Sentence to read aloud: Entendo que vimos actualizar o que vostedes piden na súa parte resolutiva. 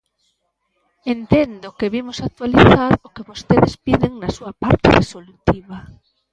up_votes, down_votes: 0, 2